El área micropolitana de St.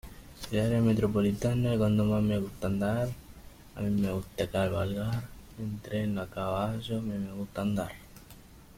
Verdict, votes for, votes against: rejected, 0, 2